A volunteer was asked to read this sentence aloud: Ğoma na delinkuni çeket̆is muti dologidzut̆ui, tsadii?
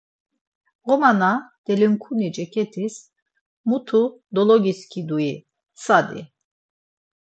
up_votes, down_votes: 0, 4